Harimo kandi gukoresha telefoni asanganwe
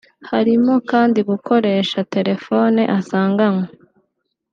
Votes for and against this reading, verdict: 3, 0, accepted